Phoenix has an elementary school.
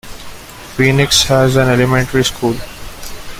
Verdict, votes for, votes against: accepted, 2, 0